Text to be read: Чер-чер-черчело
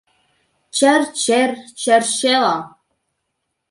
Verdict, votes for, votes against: accepted, 3, 0